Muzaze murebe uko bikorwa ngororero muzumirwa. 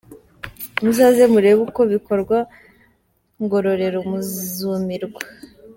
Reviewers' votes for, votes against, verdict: 3, 0, accepted